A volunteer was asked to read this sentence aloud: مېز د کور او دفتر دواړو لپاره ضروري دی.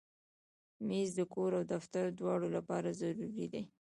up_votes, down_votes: 0, 2